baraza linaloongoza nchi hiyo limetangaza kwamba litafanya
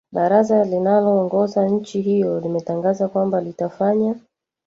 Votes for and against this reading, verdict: 2, 1, accepted